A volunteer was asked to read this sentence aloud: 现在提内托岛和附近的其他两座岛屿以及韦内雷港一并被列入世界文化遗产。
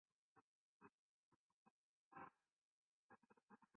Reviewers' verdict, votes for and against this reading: rejected, 0, 2